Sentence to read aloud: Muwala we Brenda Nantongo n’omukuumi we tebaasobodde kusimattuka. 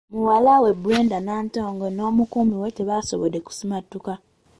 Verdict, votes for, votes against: accepted, 2, 1